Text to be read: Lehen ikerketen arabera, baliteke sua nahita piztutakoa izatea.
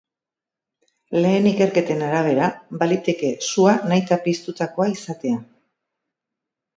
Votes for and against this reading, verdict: 3, 0, accepted